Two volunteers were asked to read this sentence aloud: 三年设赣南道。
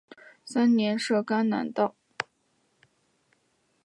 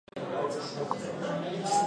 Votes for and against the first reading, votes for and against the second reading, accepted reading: 4, 0, 0, 2, first